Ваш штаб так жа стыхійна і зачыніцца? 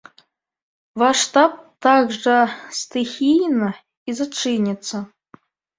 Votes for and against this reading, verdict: 2, 1, accepted